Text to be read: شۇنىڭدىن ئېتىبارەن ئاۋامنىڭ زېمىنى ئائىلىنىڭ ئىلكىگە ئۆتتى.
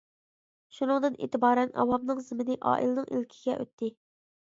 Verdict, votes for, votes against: accepted, 2, 0